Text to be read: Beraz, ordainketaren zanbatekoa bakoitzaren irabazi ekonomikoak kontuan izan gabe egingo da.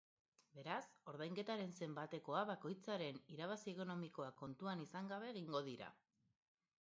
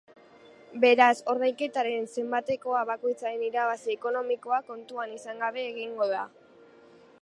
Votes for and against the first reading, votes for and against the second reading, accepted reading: 0, 2, 3, 0, second